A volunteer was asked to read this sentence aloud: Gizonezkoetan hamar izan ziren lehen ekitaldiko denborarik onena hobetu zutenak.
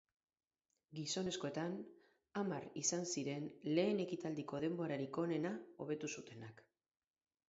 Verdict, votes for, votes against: rejected, 2, 2